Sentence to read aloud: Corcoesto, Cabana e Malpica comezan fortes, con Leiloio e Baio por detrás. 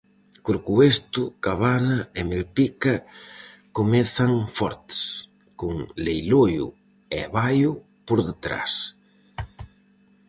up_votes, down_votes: 2, 2